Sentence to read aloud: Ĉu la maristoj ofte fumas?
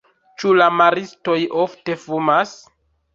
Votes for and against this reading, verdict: 2, 0, accepted